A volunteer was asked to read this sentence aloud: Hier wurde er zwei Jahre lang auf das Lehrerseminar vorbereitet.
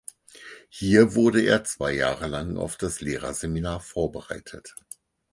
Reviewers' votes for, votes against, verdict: 4, 0, accepted